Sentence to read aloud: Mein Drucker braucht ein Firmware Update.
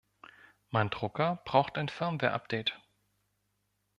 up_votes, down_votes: 2, 0